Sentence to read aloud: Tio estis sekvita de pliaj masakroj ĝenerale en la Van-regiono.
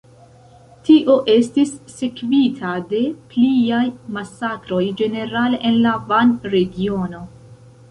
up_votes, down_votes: 2, 0